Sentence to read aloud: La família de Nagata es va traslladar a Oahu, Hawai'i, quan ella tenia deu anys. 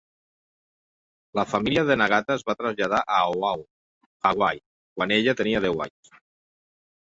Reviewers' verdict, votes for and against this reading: accepted, 2, 1